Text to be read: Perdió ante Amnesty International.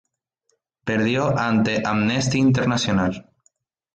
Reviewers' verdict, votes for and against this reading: accepted, 2, 0